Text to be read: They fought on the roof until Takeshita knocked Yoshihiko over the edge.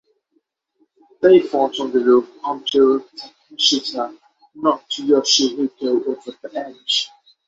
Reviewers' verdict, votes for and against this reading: accepted, 6, 3